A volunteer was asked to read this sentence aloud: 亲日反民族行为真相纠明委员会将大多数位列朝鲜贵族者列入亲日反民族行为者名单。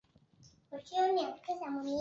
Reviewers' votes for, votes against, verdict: 2, 0, accepted